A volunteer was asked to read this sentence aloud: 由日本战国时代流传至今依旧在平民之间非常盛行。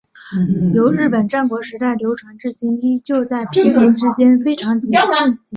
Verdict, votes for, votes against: accepted, 4, 1